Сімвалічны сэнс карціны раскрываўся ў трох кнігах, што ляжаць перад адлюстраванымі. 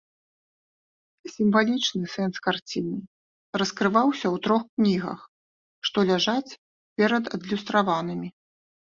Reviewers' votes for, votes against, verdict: 2, 0, accepted